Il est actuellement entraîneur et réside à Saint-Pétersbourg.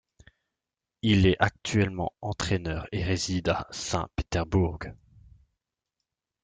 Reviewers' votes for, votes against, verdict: 0, 2, rejected